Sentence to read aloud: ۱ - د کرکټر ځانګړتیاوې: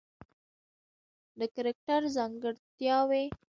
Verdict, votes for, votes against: rejected, 0, 2